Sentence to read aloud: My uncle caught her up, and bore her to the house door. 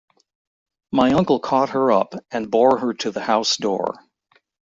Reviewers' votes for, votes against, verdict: 0, 2, rejected